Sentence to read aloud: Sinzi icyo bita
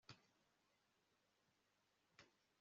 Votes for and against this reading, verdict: 0, 2, rejected